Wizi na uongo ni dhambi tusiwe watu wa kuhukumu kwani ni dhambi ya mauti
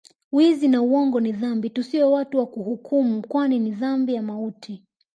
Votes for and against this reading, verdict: 1, 2, rejected